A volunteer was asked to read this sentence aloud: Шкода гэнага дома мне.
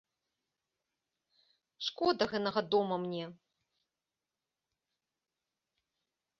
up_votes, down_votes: 2, 0